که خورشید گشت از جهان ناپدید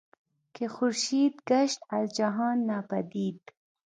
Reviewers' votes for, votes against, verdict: 3, 1, accepted